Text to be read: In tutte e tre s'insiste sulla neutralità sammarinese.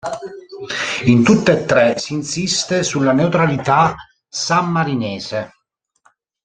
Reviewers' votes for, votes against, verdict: 1, 2, rejected